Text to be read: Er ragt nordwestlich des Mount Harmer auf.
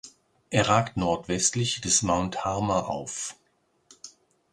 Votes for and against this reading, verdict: 2, 0, accepted